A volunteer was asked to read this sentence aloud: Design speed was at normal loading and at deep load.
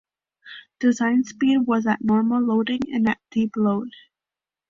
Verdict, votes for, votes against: accepted, 2, 0